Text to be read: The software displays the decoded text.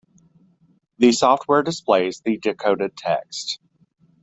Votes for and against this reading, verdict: 2, 0, accepted